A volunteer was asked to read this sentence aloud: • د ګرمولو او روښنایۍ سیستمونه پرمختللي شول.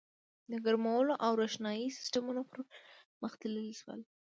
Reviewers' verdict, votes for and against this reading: rejected, 1, 2